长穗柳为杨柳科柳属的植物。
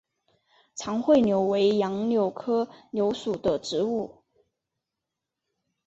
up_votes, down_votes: 3, 0